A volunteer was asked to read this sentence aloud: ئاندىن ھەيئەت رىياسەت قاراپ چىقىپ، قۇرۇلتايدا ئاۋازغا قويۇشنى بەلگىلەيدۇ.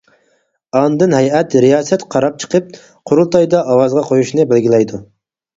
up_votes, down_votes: 4, 2